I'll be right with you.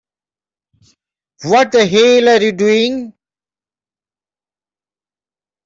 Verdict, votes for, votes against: rejected, 0, 2